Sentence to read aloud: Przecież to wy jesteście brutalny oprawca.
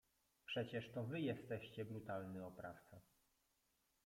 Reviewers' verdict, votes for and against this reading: rejected, 0, 2